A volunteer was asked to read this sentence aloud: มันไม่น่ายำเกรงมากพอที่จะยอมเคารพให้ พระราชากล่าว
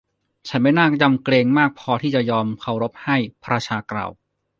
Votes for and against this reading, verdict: 1, 2, rejected